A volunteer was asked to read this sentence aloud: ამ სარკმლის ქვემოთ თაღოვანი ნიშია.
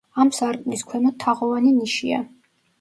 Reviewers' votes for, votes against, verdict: 2, 0, accepted